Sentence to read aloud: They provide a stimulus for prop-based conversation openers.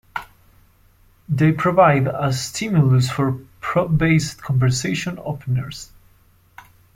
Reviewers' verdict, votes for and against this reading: accepted, 2, 0